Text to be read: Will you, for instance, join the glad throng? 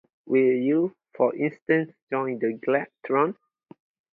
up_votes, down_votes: 4, 0